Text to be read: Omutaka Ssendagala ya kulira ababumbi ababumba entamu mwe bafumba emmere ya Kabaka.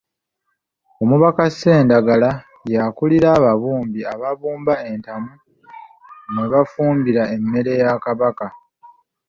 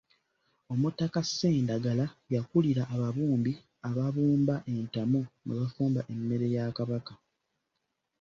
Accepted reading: second